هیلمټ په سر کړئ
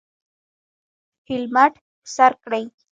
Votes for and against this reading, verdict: 0, 2, rejected